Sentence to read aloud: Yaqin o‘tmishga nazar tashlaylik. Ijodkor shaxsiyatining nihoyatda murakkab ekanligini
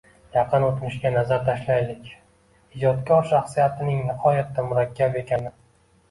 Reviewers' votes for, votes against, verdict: 0, 2, rejected